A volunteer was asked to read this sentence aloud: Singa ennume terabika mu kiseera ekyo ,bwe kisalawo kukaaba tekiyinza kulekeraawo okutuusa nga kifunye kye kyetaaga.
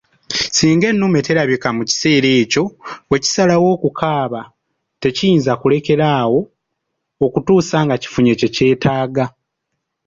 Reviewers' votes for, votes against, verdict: 2, 1, accepted